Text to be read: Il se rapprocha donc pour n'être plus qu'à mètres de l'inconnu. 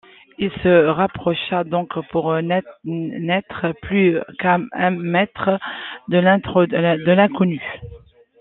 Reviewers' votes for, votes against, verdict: 0, 2, rejected